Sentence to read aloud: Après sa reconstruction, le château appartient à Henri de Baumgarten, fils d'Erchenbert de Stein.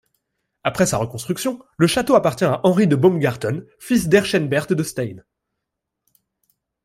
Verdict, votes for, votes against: accepted, 2, 0